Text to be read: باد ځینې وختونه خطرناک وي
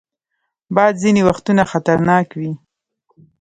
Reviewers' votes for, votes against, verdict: 1, 2, rejected